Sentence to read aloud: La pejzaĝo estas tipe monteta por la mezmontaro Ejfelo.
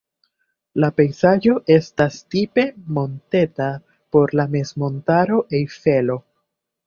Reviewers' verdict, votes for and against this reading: accepted, 2, 0